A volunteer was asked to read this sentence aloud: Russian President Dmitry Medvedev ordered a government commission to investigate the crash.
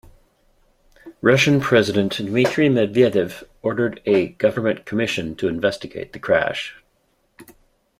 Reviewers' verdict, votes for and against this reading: accepted, 2, 0